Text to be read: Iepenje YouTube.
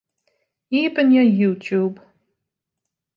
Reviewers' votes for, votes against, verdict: 2, 0, accepted